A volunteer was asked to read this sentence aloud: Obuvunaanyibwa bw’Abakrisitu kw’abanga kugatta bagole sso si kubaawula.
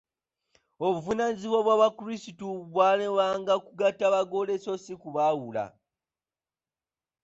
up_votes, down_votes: 0, 2